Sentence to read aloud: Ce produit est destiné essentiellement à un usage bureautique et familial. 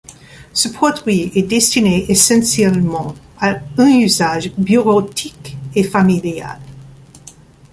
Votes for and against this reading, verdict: 2, 0, accepted